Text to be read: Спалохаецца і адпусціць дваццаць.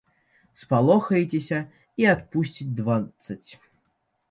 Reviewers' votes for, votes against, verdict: 0, 5, rejected